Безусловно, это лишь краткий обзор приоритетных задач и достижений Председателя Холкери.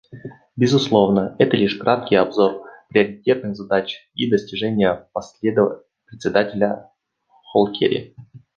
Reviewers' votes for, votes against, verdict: 1, 2, rejected